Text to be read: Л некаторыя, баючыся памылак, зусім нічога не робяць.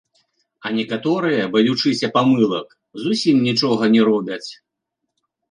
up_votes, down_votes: 0, 2